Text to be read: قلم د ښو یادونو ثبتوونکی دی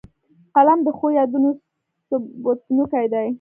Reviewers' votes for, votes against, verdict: 2, 0, accepted